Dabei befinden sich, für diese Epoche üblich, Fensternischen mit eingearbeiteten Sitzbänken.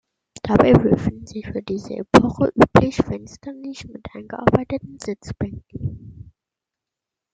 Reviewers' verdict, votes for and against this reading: rejected, 1, 2